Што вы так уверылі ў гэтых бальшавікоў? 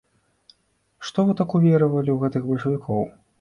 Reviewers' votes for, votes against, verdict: 0, 2, rejected